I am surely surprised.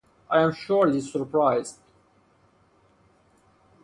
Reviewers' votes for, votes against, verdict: 4, 0, accepted